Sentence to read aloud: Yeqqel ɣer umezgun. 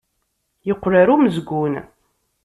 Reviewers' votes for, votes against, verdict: 2, 0, accepted